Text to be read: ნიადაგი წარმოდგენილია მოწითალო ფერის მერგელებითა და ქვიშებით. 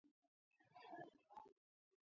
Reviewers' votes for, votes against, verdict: 0, 2, rejected